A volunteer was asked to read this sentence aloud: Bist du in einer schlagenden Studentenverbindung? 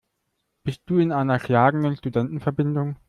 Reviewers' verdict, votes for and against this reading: accepted, 2, 0